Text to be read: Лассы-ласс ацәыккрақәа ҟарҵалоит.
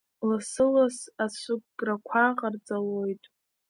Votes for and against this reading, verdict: 1, 2, rejected